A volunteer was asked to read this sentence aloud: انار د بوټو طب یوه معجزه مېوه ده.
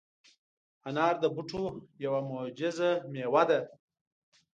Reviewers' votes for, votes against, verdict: 1, 2, rejected